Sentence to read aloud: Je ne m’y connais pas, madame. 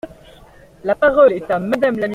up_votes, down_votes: 0, 2